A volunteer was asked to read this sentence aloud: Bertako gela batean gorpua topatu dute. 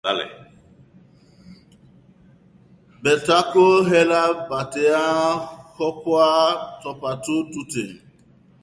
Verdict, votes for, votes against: rejected, 1, 2